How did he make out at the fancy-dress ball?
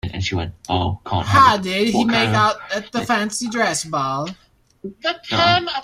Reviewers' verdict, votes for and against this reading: rejected, 0, 2